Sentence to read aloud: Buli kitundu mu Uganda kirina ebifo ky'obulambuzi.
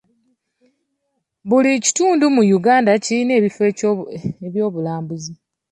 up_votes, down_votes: 1, 2